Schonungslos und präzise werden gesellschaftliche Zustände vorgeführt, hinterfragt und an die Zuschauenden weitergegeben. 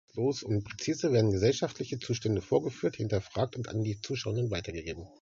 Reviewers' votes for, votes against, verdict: 0, 2, rejected